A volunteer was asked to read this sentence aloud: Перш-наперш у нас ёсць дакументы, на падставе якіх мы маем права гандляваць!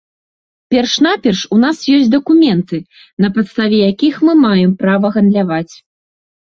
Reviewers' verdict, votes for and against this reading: accepted, 3, 0